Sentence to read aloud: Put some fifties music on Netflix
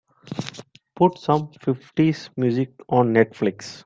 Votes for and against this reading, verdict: 3, 1, accepted